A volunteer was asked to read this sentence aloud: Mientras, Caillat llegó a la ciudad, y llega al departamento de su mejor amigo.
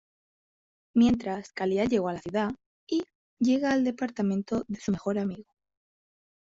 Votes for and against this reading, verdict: 1, 2, rejected